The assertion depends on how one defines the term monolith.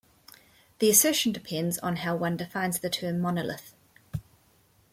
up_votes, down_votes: 0, 2